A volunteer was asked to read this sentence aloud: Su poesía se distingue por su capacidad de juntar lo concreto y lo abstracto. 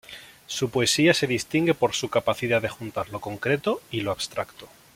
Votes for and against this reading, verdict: 2, 0, accepted